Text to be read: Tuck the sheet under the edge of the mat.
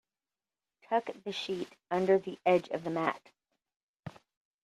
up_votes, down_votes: 2, 0